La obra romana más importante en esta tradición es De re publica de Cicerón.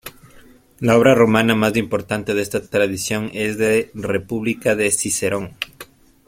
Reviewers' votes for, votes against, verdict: 1, 2, rejected